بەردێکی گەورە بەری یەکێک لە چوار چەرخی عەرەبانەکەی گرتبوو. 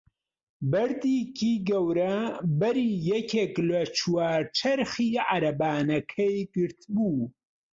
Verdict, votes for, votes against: accepted, 3, 2